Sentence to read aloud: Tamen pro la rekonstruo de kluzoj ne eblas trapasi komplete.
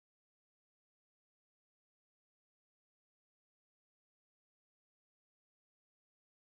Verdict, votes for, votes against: accepted, 2, 0